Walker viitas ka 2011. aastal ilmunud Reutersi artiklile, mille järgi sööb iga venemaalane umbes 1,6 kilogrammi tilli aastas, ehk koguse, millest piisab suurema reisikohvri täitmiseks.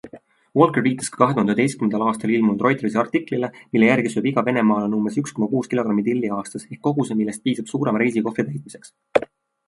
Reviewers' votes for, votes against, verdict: 0, 2, rejected